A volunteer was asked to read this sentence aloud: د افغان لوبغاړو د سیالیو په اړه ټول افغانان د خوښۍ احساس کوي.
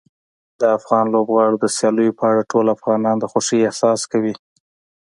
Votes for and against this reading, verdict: 3, 0, accepted